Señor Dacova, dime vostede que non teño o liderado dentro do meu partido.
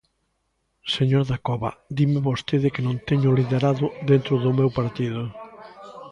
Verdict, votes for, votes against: accepted, 2, 0